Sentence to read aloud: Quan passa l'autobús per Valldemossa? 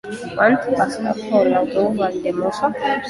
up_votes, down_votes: 0, 2